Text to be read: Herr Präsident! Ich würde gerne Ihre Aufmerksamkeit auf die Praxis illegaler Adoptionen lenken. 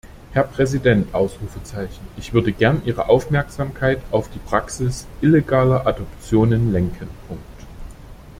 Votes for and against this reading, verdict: 0, 2, rejected